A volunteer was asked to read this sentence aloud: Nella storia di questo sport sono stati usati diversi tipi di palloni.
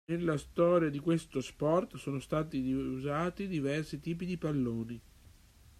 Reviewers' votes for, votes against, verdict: 2, 1, accepted